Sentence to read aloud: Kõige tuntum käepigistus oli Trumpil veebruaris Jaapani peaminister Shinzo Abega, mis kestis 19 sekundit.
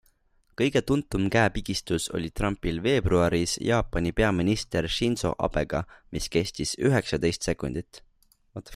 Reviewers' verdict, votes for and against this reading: rejected, 0, 2